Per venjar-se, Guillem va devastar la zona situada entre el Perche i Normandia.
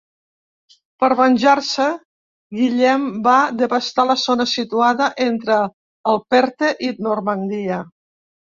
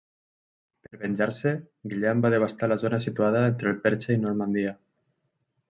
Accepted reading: second